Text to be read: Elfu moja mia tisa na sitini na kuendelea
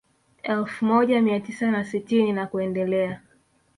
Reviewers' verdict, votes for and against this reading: accepted, 2, 0